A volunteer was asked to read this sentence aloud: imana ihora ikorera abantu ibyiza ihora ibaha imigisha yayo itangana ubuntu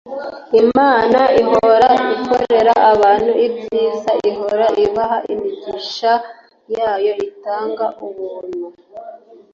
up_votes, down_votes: 1, 2